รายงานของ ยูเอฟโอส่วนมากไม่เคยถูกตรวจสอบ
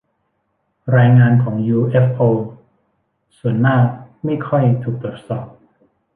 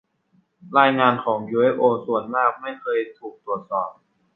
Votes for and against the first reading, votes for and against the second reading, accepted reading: 1, 2, 2, 1, second